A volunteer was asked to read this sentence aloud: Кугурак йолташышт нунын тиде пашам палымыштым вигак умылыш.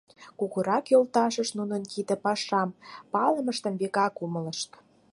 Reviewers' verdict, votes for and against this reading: rejected, 0, 4